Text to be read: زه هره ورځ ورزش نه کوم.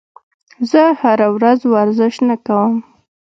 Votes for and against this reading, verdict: 2, 0, accepted